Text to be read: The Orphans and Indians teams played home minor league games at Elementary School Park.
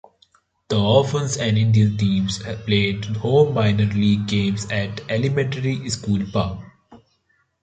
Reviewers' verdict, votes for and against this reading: rejected, 0, 2